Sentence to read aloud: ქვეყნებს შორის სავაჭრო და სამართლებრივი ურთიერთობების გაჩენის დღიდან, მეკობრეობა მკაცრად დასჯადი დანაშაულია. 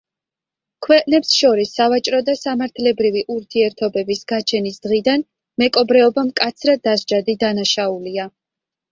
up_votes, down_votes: 2, 0